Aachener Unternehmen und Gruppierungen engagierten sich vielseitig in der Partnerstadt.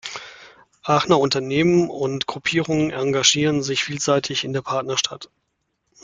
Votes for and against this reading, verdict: 2, 0, accepted